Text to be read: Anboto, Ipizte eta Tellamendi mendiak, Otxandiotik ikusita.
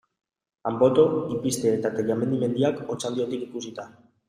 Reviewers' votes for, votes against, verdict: 3, 0, accepted